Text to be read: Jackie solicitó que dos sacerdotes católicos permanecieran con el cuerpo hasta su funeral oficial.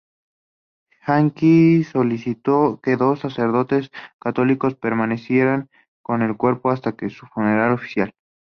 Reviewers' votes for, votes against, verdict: 2, 0, accepted